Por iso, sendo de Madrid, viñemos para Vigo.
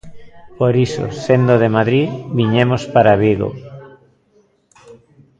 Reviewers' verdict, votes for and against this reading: rejected, 0, 2